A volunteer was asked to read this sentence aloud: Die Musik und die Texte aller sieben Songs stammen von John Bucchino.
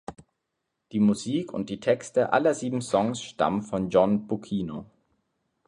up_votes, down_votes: 2, 0